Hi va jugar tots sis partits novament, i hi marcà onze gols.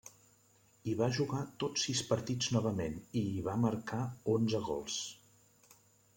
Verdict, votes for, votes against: rejected, 0, 2